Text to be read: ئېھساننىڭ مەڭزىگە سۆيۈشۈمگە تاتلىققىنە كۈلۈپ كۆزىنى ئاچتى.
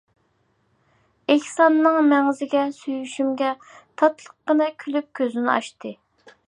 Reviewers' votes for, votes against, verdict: 2, 1, accepted